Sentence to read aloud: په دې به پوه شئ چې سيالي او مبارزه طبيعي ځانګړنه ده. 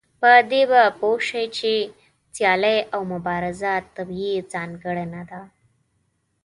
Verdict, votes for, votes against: accepted, 2, 0